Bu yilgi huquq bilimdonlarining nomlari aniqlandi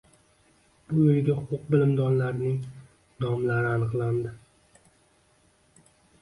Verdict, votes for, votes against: rejected, 1, 2